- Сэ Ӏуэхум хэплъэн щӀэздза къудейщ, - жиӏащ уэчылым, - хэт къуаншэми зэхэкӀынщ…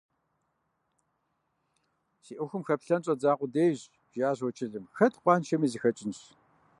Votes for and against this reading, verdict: 1, 2, rejected